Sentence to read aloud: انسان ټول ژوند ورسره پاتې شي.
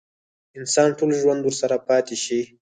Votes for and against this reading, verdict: 2, 4, rejected